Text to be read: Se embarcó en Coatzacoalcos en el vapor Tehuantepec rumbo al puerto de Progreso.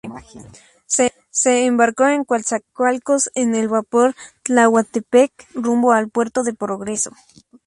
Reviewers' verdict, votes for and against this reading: rejected, 0, 2